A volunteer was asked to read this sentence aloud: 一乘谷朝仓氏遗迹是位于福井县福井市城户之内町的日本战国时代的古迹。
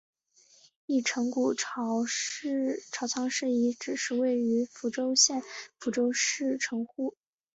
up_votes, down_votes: 2, 1